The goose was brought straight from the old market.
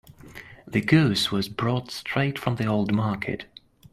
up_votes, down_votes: 2, 0